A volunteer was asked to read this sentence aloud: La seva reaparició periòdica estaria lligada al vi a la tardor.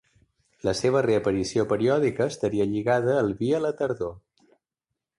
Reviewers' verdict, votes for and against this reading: accepted, 2, 0